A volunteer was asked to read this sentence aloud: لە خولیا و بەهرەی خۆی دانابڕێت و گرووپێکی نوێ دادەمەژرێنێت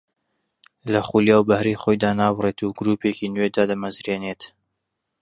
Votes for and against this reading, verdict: 1, 2, rejected